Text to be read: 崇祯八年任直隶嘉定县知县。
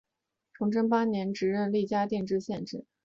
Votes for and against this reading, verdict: 0, 2, rejected